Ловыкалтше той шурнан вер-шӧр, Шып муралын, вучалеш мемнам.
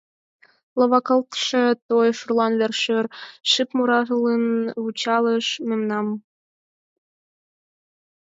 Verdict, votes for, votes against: rejected, 0, 4